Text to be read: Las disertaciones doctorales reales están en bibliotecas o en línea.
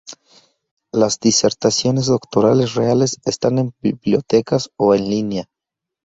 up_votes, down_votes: 2, 0